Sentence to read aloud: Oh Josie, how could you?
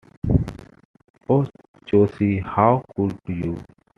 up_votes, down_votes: 2, 0